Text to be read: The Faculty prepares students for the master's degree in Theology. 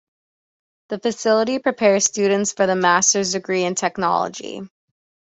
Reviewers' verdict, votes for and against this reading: rejected, 1, 2